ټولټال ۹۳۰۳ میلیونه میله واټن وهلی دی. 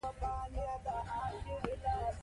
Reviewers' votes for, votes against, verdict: 0, 2, rejected